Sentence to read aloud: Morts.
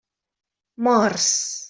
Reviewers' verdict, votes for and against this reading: accepted, 3, 0